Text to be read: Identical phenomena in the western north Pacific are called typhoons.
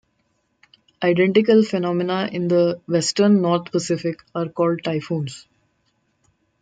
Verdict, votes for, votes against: rejected, 1, 2